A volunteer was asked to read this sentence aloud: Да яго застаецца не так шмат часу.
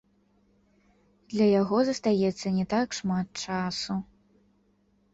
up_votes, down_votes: 0, 2